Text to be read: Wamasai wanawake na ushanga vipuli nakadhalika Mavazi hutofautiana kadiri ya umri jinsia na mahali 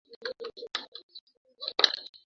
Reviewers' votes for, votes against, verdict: 0, 3, rejected